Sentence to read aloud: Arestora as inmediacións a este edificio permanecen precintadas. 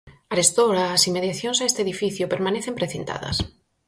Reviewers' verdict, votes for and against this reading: accepted, 4, 0